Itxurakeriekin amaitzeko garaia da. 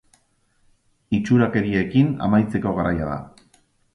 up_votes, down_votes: 2, 0